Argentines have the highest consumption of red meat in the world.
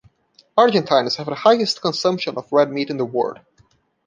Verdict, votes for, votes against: rejected, 1, 2